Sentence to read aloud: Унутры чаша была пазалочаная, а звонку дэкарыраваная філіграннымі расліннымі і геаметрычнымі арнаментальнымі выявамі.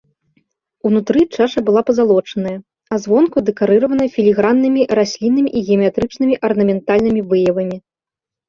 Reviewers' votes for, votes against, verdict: 1, 2, rejected